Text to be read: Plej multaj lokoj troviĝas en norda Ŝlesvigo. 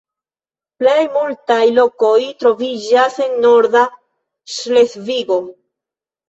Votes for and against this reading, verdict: 1, 2, rejected